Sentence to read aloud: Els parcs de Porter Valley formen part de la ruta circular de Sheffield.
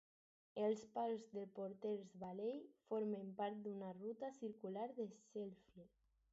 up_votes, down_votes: 0, 4